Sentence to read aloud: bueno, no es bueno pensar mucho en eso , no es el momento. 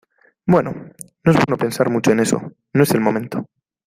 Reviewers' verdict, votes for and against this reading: accepted, 2, 1